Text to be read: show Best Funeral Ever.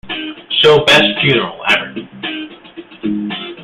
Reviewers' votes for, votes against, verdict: 2, 1, accepted